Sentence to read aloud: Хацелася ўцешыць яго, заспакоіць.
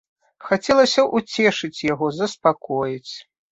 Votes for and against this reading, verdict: 2, 0, accepted